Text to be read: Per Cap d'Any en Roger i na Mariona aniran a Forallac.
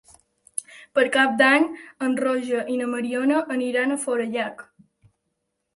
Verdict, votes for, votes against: rejected, 0, 2